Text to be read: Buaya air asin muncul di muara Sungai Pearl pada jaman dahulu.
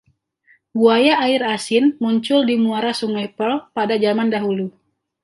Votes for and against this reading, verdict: 2, 0, accepted